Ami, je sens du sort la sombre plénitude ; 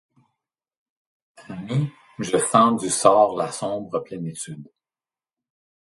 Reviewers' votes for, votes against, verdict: 1, 2, rejected